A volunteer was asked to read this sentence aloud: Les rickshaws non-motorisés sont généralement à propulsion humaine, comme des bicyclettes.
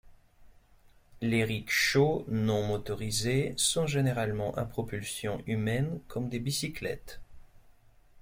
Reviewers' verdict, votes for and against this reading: accepted, 2, 0